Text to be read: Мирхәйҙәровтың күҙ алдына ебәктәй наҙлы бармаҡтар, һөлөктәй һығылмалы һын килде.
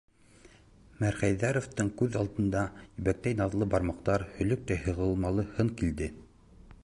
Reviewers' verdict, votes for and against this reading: rejected, 0, 2